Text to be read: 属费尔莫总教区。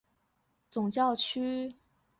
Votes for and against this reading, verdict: 1, 2, rejected